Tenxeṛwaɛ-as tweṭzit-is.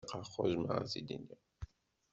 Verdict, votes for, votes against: rejected, 1, 2